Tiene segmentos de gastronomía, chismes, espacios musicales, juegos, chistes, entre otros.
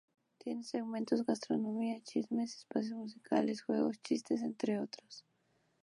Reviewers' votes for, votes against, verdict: 2, 0, accepted